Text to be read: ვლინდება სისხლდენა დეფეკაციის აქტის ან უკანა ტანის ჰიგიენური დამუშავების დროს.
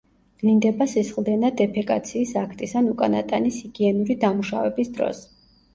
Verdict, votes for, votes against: accepted, 2, 0